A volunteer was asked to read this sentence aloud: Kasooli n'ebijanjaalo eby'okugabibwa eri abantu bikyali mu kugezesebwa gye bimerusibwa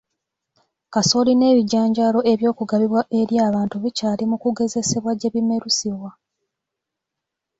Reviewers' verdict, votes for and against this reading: accepted, 3, 0